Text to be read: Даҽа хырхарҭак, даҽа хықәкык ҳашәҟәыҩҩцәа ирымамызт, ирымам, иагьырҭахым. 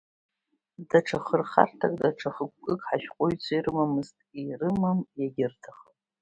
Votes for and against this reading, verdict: 2, 0, accepted